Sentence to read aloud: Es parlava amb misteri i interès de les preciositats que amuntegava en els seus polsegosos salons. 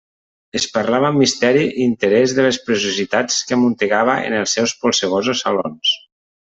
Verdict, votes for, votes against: accepted, 2, 0